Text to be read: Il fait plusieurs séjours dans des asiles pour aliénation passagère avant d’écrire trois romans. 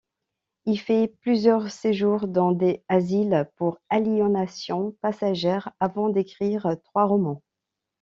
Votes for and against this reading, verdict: 1, 2, rejected